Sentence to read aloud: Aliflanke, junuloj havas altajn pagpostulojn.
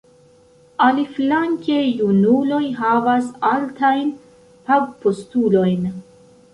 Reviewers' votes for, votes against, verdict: 2, 0, accepted